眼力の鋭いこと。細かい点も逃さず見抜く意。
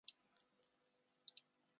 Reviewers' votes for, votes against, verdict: 0, 2, rejected